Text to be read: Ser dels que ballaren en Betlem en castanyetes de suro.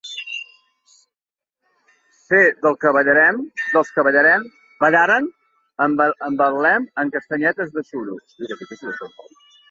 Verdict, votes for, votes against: rejected, 1, 2